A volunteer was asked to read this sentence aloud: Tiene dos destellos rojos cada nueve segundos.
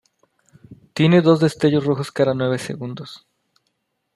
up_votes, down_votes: 2, 0